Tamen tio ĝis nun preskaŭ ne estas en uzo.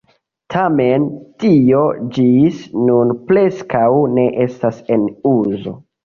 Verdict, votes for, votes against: rejected, 0, 2